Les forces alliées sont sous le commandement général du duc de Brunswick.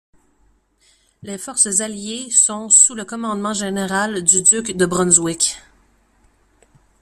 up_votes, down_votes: 2, 0